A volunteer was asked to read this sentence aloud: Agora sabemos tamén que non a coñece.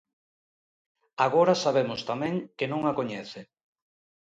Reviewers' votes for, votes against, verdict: 2, 0, accepted